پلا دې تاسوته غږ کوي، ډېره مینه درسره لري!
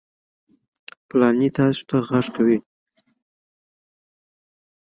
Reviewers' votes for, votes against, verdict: 2, 3, rejected